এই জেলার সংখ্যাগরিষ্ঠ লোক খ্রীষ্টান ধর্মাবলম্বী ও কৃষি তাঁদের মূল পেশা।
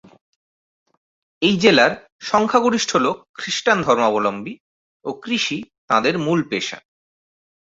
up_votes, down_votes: 2, 0